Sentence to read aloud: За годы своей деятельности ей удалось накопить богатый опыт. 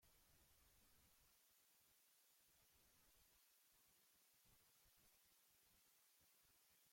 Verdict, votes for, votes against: rejected, 0, 2